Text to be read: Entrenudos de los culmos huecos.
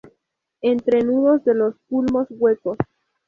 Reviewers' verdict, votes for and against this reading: accepted, 2, 0